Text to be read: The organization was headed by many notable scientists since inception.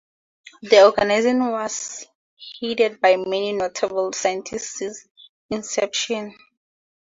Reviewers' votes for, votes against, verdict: 0, 2, rejected